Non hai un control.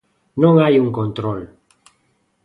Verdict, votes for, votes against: accepted, 2, 0